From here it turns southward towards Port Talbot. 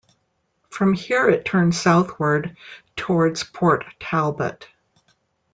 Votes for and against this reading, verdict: 2, 0, accepted